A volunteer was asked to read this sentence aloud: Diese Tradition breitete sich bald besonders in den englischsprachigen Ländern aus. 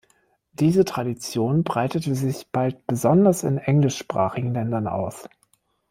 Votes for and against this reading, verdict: 0, 2, rejected